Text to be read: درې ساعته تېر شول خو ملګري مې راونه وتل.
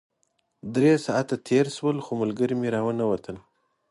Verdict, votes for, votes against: accepted, 2, 0